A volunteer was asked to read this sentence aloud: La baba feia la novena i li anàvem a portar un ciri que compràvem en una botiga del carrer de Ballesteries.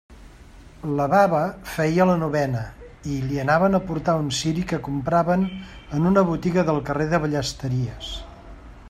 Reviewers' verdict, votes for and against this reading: accepted, 2, 0